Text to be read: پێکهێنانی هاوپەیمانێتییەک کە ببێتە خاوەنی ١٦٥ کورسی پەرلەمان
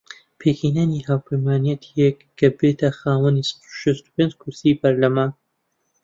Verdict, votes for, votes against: rejected, 0, 2